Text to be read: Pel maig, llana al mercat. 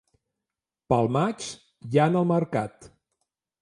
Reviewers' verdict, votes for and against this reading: accepted, 2, 0